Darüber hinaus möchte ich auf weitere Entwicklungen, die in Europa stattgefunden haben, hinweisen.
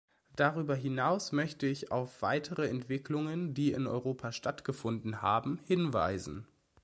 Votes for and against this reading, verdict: 2, 0, accepted